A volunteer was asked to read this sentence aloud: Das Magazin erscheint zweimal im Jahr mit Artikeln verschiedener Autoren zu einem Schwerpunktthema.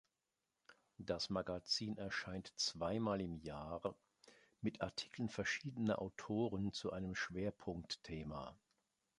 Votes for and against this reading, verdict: 2, 0, accepted